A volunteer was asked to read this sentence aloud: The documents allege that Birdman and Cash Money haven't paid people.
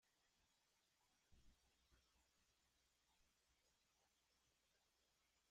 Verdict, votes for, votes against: rejected, 0, 2